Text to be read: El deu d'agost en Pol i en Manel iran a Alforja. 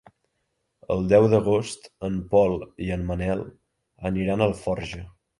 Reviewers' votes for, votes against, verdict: 1, 2, rejected